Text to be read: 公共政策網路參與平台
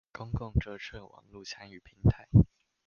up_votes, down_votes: 1, 2